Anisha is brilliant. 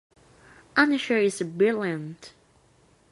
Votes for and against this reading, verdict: 2, 1, accepted